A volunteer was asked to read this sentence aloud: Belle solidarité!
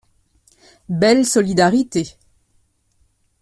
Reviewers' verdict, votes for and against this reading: accepted, 2, 0